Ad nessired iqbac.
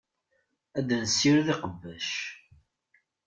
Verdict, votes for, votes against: rejected, 1, 2